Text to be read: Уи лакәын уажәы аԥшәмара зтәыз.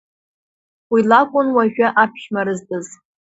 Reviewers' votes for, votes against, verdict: 2, 0, accepted